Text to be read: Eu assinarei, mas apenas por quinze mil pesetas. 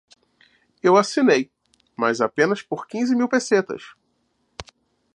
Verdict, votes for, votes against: rejected, 1, 2